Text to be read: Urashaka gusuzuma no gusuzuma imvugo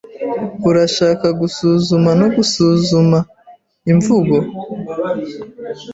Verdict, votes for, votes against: accepted, 2, 0